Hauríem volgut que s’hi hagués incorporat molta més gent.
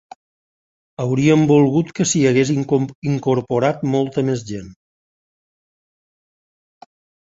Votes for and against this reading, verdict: 1, 2, rejected